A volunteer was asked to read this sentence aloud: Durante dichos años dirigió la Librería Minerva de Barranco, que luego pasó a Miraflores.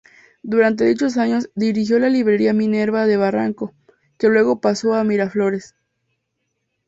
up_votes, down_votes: 2, 0